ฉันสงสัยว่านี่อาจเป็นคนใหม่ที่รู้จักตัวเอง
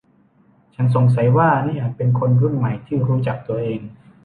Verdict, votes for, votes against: rejected, 1, 2